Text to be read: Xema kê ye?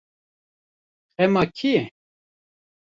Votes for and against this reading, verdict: 1, 2, rejected